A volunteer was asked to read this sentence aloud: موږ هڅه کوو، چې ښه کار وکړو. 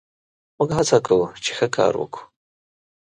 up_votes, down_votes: 2, 0